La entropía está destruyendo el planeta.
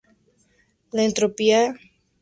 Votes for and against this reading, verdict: 0, 4, rejected